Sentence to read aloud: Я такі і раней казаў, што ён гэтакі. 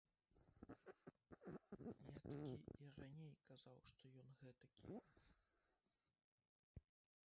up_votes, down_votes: 0, 2